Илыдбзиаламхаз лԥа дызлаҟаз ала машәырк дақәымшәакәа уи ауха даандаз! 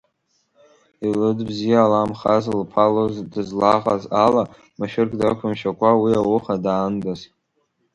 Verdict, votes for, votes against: accepted, 2, 1